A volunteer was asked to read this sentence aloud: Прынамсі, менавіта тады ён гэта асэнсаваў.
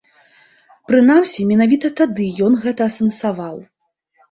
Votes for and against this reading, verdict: 2, 0, accepted